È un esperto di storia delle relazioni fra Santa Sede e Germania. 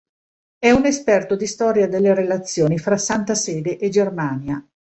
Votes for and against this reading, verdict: 2, 0, accepted